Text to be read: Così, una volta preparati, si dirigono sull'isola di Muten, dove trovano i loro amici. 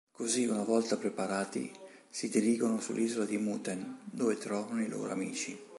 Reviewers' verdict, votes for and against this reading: accepted, 2, 0